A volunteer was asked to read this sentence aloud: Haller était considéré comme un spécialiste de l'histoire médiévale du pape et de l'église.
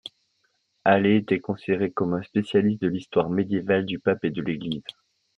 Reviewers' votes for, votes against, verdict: 2, 0, accepted